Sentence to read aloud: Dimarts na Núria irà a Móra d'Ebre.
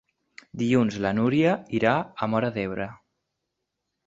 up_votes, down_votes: 1, 3